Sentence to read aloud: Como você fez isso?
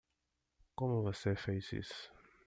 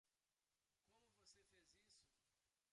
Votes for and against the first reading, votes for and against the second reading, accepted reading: 2, 1, 1, 2, first